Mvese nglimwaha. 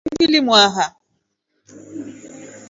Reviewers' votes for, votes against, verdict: 1, 3, rejected